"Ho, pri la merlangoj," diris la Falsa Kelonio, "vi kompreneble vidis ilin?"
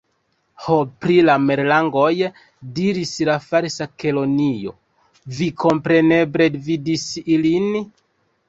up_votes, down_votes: 1, 2